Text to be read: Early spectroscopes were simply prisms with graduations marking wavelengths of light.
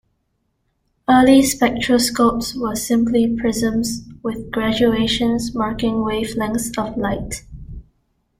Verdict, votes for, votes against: accepted, 2, 0